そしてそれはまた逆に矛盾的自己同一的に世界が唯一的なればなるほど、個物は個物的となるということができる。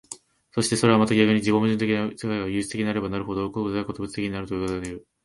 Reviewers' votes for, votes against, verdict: 2, 7, rejected